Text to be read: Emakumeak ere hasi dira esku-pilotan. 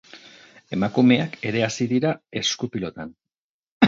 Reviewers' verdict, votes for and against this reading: rejected, 2, 2